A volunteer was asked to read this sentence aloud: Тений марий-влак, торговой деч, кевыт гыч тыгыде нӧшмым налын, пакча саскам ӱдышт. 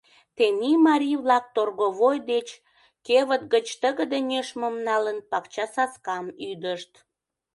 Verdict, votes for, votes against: accepted, 2, 0